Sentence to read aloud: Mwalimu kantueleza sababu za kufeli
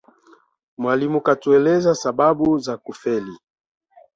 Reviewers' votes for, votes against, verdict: 2, 1, accepted